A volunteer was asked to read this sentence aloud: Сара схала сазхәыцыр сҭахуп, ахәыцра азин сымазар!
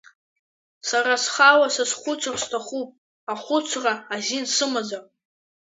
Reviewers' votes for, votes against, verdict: 2, 0, accepted